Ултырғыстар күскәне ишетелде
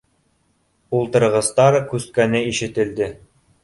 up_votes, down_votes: 2, 0